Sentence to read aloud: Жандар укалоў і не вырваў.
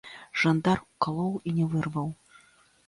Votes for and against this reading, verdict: 2, 1, accepted